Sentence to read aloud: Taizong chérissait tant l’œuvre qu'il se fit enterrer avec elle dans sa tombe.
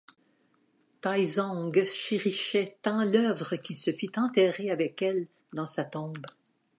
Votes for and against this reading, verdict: 0, 2, rejected